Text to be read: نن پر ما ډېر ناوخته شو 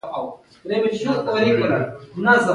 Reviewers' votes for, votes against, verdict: 2, 0, accepted